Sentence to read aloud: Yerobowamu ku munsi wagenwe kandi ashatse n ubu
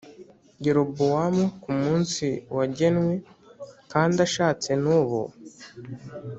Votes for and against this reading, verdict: 2, 0, accepted